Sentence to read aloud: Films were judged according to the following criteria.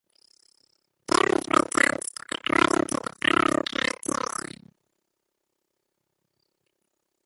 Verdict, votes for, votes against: rejected, 0, 2